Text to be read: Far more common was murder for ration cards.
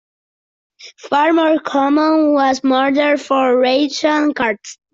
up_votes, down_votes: 2, 0